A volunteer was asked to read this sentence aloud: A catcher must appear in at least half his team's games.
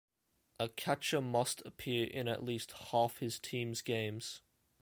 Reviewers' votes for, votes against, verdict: 2, 0, accepted